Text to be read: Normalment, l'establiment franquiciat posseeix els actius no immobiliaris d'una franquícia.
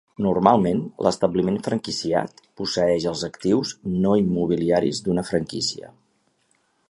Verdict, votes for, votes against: accepted, 4, 0